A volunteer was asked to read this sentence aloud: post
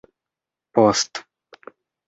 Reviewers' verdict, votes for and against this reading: accepted, 2, 0